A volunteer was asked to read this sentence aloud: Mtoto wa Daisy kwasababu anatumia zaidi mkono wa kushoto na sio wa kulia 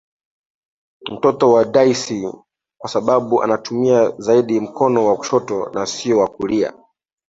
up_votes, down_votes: 2, 1